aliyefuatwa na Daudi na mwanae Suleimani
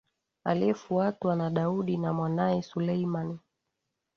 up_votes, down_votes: 2, 1